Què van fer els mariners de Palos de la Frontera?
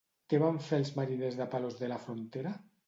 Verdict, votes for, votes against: accepted, 2, 0